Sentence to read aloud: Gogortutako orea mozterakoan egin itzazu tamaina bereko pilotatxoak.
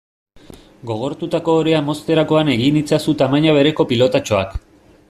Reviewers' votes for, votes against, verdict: 2, 0, accepted